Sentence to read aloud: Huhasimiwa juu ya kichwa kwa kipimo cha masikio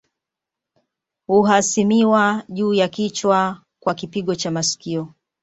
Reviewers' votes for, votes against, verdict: 1, 2, rejected